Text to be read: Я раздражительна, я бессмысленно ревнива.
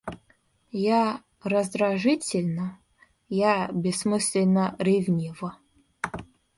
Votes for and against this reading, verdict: 2, 0, accepted